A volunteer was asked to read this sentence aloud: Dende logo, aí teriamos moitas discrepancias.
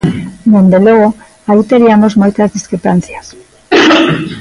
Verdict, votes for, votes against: rejected, 1, 2